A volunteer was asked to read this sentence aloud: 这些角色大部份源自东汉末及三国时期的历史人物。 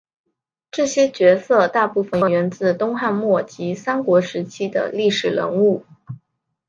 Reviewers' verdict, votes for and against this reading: accepted, 2, 0